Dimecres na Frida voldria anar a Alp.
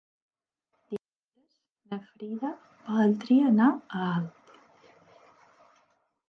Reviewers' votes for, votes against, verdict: 0, 4, rejected